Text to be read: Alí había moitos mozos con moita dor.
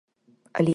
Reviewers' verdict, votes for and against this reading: rejected, 0, 4